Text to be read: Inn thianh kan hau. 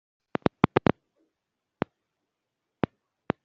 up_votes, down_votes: 0, 2